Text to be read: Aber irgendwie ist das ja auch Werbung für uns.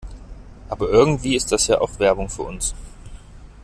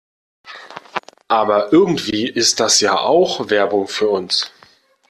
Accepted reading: first